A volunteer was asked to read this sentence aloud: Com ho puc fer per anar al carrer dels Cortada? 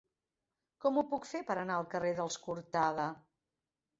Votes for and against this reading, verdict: 0, 2, rejected